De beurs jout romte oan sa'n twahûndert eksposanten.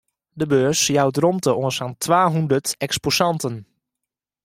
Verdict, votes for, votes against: accepted, 2, 1